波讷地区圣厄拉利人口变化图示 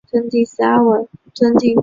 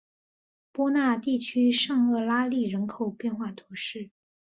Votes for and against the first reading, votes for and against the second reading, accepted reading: 0, 2, 2, 0, second